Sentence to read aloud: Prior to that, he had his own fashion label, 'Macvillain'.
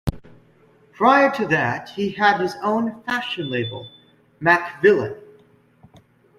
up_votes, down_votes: 2, 1